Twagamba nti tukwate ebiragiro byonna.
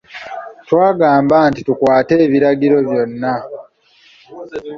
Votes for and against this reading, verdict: 2, 0, accepted